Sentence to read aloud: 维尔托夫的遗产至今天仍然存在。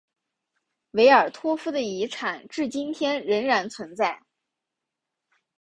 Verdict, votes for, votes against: accepted, 3, 1